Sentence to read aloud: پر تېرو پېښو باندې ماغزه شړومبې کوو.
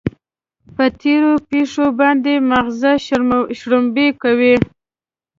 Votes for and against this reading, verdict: 4, 3, accepted